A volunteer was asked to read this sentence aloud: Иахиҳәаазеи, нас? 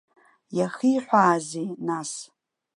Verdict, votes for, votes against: accepted, 2, 0